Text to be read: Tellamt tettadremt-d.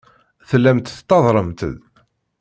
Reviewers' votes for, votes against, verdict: 2, 0, accepted